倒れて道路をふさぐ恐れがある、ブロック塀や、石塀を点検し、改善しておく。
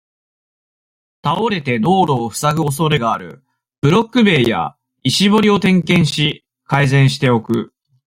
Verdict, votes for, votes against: accepted, 2, 0